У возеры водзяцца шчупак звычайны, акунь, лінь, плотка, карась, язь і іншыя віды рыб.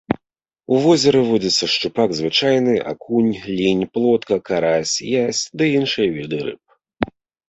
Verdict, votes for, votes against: rejected, 1, 2